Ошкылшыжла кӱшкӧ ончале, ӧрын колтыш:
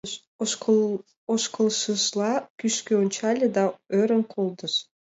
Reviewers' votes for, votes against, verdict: 2, 1, accepted